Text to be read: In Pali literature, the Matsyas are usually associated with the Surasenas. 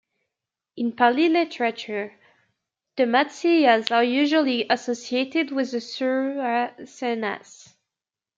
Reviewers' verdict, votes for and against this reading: rejected, 1, 2